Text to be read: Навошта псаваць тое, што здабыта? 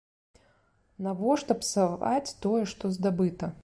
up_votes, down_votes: 2, 1